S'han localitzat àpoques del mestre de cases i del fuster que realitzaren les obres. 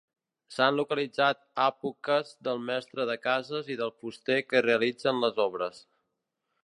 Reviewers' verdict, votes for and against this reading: rejected, 1, 2